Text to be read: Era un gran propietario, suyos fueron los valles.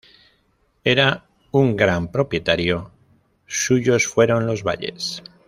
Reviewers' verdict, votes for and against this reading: rejected, 0, 2